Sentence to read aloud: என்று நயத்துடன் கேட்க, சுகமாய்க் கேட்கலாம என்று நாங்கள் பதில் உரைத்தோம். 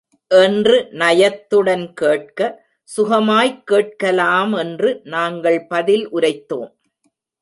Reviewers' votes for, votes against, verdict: 0, 2, rejected